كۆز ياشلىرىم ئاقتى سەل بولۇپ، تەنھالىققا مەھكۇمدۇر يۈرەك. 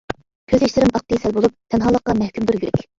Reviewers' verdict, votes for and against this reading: rejected, 1, 2